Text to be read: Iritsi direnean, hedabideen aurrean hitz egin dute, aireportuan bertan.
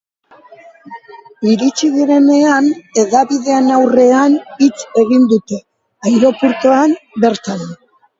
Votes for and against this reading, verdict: 2, 1, accepted